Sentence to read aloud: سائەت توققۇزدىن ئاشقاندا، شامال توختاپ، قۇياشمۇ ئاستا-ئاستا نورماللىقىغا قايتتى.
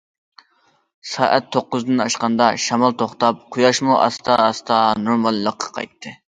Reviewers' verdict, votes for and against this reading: rejected, 0, 2